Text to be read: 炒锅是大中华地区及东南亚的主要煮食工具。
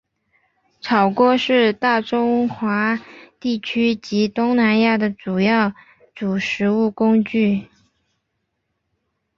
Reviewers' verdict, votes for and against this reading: accepted, 3, 1